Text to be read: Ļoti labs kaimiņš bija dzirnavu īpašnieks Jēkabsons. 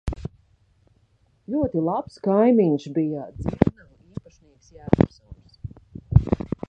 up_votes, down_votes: 0, 2